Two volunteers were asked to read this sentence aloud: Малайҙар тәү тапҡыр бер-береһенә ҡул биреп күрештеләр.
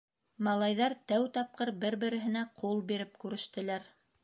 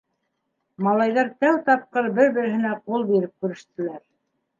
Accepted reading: second